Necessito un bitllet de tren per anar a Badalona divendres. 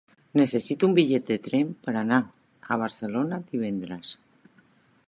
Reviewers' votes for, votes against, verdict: 0, 2, rejected